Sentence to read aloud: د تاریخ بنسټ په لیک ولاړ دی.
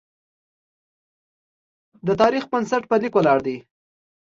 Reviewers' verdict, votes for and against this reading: accepted, 2, 0